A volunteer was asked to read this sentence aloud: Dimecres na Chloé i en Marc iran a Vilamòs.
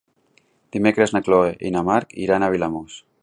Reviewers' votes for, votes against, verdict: 2, 1, accepted